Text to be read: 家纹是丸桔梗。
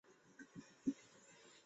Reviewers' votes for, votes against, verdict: 1, 2, rejected